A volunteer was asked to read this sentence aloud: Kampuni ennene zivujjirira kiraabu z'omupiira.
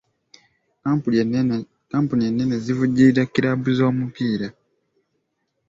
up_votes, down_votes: 1, 2